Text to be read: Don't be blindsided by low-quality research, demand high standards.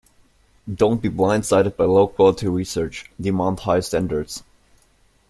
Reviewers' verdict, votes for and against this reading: accepted, 2, 0